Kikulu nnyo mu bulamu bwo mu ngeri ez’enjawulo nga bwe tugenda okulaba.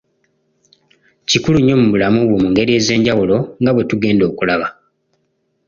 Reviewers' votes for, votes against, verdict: 2, 0, accepted